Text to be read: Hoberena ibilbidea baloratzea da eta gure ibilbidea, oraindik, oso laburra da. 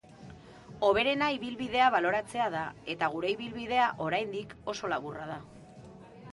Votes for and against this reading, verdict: 2, 0, accepted